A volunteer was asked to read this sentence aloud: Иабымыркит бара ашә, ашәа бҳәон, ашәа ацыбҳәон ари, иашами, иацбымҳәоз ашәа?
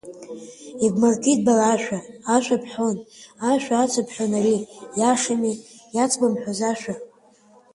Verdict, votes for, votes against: accepted, 2, 0